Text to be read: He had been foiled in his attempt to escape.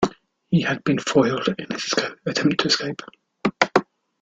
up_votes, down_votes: 0, 2